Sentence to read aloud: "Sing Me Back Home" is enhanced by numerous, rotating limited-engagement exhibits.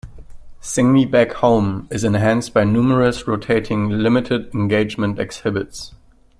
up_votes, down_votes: 2, 0